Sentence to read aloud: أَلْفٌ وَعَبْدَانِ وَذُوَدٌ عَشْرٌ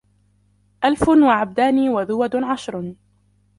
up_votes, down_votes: 0, 2